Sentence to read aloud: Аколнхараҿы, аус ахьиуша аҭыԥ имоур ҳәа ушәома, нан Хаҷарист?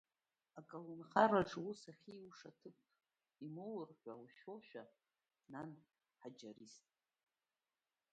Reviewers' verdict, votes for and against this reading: rejected, 1, 2